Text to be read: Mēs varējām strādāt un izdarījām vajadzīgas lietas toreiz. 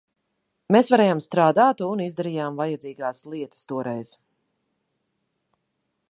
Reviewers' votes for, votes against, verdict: 0, 2, rejected